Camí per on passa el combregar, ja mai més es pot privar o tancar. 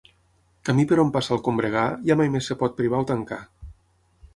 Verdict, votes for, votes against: accepted, 6, 3